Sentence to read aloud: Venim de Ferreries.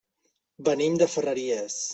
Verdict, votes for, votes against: accepted, 3, 0